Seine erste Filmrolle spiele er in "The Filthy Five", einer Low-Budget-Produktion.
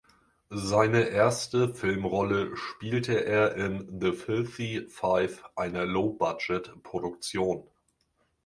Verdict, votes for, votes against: rejected, 1, 2